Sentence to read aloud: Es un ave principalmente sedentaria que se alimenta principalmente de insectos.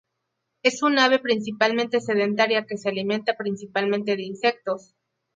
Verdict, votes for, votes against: accepted, 2, 0